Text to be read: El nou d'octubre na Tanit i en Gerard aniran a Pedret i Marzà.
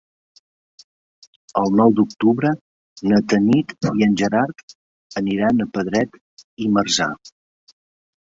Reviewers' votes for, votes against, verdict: 4, 1, accepted